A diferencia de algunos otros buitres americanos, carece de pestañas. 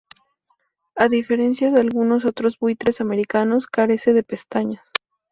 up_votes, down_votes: 2, 0